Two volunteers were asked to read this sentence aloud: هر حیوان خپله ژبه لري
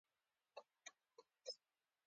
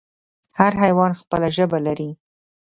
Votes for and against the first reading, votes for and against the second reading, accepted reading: 0, 2, 2, 0, second